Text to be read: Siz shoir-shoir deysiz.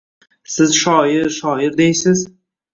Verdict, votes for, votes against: accepted, 2, 0